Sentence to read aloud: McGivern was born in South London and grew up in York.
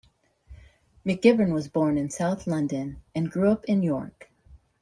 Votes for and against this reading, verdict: 2, 0, accepted